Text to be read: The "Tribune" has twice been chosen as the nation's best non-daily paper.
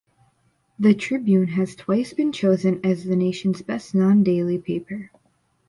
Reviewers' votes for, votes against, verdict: 2, 0, accepted